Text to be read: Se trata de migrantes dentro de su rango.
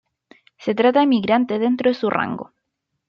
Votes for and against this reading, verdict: 0, 2, rejected